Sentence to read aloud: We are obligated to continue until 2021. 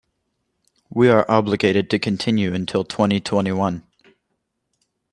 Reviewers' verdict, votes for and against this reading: rejected, 0, 2